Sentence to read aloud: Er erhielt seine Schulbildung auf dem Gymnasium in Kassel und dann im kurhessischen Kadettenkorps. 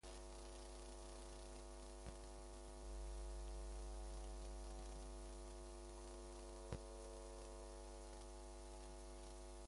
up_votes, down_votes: 0, 2